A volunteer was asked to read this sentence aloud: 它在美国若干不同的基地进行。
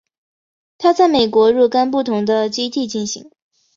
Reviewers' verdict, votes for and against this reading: accepted, 2, 0